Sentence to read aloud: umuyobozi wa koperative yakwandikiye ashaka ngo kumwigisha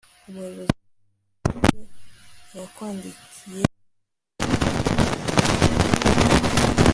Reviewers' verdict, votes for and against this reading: rejected, 0, 2